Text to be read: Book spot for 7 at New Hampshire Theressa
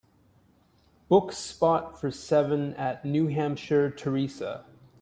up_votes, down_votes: 0, 2